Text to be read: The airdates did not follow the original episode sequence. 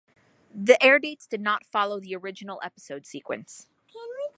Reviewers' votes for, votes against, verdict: 2, 0, accepted